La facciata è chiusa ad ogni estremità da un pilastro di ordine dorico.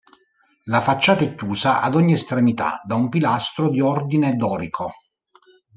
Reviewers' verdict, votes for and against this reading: rejected, 1, 2